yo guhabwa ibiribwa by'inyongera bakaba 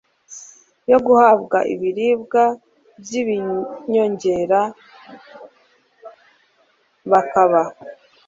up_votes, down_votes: 1, 2